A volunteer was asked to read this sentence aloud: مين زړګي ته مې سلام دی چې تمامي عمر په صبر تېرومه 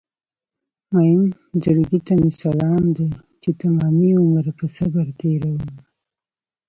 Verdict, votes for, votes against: rejected, 1, 2